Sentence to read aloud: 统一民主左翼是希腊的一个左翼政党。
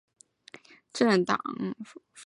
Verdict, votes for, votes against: rejected, 1, 2